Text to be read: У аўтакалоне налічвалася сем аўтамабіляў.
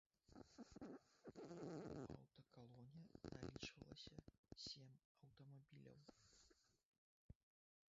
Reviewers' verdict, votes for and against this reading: rejected, 0, 2